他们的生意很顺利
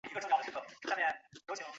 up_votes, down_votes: 0, 2